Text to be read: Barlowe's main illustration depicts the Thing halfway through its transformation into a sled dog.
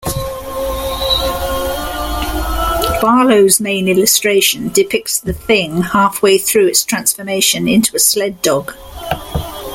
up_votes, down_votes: 2, 1